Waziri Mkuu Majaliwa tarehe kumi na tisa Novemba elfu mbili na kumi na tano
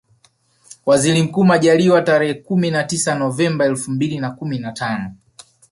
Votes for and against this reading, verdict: 2, 0, accepted